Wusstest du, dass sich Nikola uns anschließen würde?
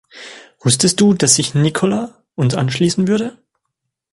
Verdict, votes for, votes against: accepted, 2, 0